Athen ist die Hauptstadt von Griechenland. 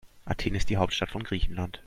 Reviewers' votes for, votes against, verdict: 2, 0, accepted